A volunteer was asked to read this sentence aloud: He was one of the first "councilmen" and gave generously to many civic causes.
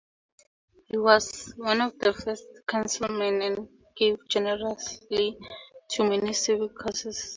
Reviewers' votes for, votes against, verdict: 4, 0, accepted